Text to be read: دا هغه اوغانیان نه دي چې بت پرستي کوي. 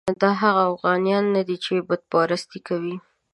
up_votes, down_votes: 2, 0